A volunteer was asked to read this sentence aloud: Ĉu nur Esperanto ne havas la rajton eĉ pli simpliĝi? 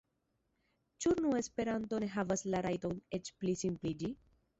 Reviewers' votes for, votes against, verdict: 0, 2, rejected